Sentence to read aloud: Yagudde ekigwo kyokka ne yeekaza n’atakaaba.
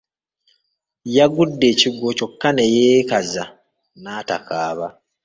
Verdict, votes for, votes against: rejected, 1, 2